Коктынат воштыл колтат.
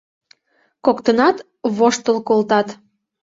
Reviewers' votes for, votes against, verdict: 2, 0, accepted